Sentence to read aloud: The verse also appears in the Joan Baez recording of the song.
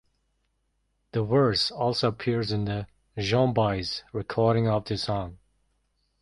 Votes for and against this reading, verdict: 2, 0, accepted